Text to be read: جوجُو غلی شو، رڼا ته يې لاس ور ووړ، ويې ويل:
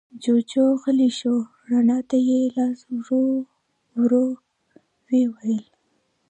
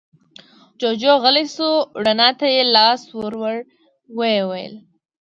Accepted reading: second